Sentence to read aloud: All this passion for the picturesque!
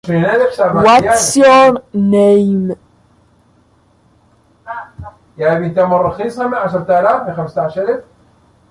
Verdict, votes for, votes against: rejected, 0, 2